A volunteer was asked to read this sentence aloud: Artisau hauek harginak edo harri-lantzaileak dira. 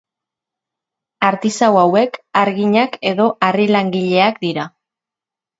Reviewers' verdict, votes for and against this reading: rejected, 0, 2